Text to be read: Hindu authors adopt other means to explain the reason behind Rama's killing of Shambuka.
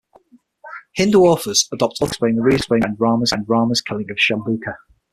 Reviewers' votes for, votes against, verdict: 0, 6, rejected